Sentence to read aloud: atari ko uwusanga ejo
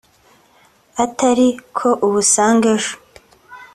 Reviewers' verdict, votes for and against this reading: accepted, 2, 0